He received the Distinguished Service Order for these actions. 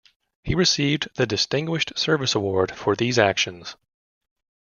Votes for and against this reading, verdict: 1, 2, rejected